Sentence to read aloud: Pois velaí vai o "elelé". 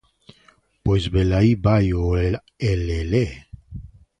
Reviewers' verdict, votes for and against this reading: rejected, 1, 2